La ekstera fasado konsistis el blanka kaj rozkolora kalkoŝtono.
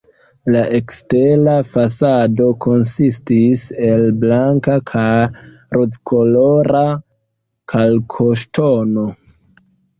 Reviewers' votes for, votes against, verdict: 0, 2, rejected